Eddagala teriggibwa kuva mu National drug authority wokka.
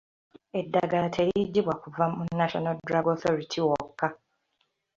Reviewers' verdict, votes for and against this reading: accepted, 2, 0